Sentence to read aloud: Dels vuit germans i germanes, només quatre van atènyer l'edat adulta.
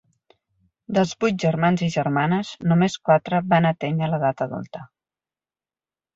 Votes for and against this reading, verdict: 4, 0, accepted